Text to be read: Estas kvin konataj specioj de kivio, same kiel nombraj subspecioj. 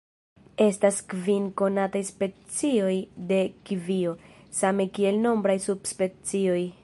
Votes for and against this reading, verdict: 2, 0, accepted